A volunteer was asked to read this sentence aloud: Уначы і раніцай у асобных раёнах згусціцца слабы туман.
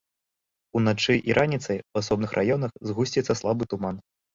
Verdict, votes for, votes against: accepted, 2, 1